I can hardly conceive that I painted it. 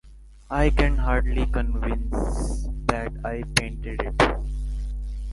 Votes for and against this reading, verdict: 0, 2, rejected